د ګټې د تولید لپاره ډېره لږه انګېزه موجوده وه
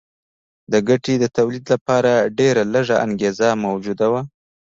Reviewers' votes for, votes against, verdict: 2, 0, accepted